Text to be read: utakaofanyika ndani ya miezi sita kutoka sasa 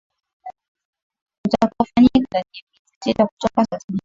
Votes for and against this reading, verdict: 0, 2, rejected